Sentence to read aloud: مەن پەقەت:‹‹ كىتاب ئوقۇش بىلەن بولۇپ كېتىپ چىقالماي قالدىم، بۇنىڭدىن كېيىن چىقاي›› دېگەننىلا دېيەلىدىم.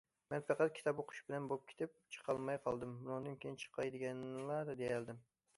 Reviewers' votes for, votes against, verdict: 2, 1, accepted